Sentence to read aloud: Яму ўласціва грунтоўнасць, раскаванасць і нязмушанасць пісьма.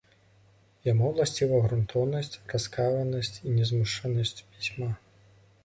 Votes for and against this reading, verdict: 0, 2, rejected